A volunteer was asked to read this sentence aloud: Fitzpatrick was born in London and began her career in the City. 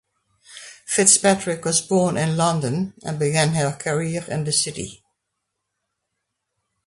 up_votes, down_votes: 2, 0